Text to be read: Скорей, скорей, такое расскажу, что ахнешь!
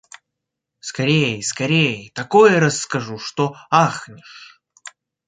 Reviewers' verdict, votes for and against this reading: accepted, 3, 0